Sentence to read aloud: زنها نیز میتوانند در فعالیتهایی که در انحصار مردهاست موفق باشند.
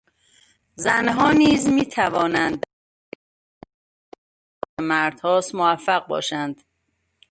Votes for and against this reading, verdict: 0, 2, rejected